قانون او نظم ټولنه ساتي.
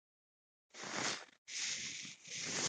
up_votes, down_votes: 1, 2